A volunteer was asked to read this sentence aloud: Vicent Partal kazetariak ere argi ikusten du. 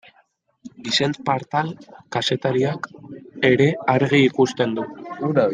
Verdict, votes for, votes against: accepted, 2, 0